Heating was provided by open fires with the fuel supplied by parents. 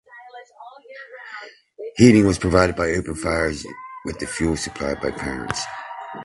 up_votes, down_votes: 2, 0